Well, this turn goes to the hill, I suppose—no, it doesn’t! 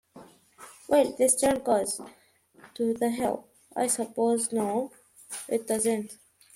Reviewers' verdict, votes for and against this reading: accepted, 2, 0